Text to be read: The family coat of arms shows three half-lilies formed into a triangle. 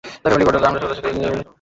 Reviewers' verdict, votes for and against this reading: rejected, 0, 2